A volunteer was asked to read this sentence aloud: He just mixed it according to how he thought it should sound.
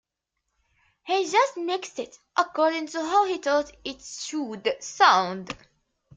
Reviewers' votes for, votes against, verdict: 1, 2, rejected